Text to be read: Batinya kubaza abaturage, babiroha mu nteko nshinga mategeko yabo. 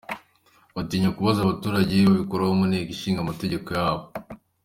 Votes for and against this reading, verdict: 2, 0, accepted